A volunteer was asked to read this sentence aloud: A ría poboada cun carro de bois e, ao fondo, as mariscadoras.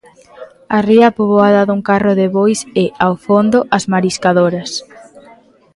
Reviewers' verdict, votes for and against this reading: rejected, 0, 2